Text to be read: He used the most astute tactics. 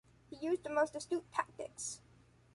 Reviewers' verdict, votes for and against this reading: accepted, 2, 0